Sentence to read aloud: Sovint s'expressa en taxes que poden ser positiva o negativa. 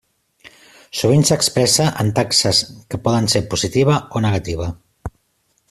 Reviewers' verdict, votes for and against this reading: accepted, 3, 0